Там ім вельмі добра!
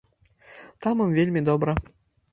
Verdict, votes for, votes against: accepted, 2, 0